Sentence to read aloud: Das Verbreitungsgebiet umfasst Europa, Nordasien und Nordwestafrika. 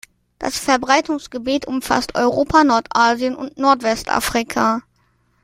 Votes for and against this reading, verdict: 2, 0, accepted